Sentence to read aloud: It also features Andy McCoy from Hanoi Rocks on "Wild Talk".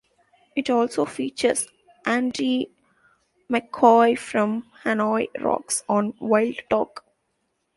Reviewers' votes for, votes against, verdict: 1, 2, rejected